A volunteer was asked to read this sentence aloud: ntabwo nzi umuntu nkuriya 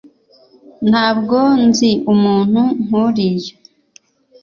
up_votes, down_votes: 2, 0